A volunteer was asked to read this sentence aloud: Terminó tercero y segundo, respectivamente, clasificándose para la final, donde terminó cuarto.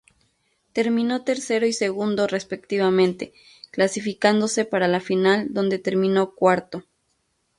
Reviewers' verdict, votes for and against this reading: rejected, 0, 2